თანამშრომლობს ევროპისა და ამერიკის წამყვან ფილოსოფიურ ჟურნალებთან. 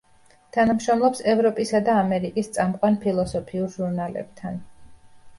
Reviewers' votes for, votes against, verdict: 2, 0, accepted